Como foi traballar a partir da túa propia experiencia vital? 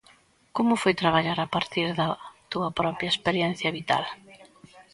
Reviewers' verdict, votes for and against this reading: accepted, 3, 0